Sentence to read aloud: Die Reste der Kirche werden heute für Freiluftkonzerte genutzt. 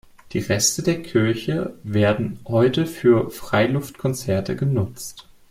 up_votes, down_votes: 2, 0